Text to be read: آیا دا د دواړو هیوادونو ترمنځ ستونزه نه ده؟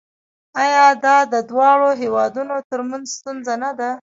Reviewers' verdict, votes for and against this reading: rejected, 1, 2